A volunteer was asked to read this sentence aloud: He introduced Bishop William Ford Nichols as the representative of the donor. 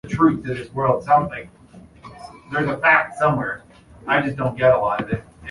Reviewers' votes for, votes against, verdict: 0, 2, rejected